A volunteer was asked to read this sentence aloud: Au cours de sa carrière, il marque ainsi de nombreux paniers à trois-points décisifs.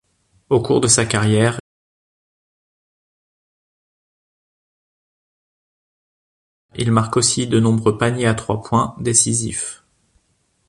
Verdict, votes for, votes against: rejected, 0, 2